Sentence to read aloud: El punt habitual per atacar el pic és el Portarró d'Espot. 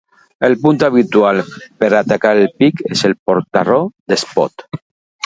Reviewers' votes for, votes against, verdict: 2, 0, accepted